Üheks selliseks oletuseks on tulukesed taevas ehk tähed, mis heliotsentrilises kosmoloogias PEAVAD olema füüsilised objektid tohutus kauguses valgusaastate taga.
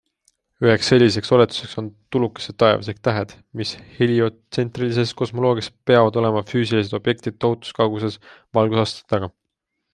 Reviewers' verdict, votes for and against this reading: accepted, 2, 0